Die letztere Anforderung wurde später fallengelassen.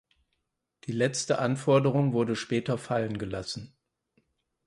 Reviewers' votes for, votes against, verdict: 2, 4, rejected